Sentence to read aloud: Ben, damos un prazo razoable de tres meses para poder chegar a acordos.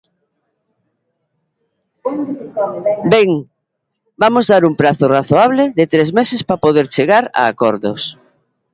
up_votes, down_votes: 0, 3